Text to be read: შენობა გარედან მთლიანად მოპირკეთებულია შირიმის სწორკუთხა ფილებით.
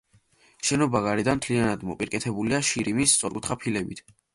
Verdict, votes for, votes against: accepted, 2, 0